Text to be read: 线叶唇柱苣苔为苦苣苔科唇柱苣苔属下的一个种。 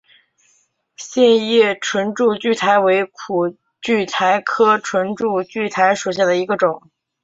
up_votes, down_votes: 2, 0